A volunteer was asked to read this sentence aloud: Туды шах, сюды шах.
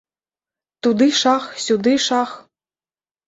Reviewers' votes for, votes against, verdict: 3, 0, accepted